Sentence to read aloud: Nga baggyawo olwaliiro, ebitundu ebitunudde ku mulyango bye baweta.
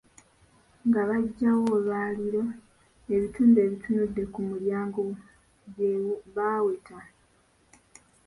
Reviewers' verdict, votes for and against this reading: accepted, 2, 1